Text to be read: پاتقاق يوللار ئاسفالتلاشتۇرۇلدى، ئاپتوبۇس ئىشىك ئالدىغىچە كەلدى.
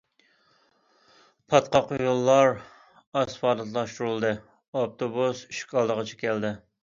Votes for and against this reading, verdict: 2, 0, accepted